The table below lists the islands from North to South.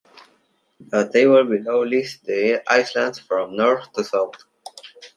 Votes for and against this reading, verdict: 2, 1, accepted